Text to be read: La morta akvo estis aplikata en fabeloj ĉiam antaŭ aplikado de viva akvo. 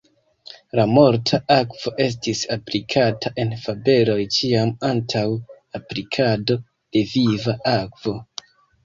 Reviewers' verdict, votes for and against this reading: accepted, 2, 1